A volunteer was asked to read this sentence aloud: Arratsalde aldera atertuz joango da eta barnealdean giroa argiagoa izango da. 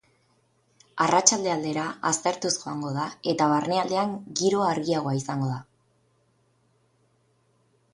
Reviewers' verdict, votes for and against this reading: rejected, 0, 4